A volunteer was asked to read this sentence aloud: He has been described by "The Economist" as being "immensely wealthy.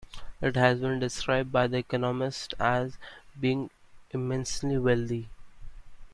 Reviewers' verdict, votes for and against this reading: rejected, 1, 2